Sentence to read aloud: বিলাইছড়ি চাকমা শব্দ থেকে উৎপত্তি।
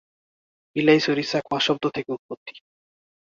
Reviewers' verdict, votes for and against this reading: accepted, 6, 2